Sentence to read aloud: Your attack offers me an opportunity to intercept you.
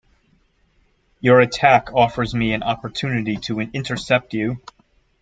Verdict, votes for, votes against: rejected, 1, 2